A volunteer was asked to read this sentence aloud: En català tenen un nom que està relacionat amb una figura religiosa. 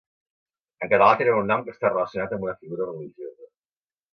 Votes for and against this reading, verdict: 1, 2, rejected